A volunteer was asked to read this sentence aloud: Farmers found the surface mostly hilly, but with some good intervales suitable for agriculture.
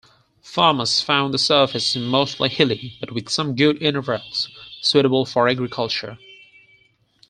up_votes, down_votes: 4, 0